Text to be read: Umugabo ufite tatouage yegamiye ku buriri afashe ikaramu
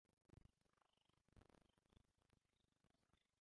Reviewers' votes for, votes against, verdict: 0, 2, rejected